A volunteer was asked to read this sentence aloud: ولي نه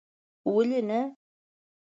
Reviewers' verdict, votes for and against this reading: accepted, 2, 0